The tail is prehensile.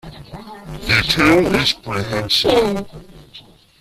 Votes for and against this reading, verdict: 1, 2, rejected